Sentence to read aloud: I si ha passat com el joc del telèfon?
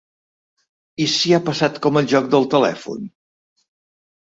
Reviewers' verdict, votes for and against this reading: accepted, 3, 0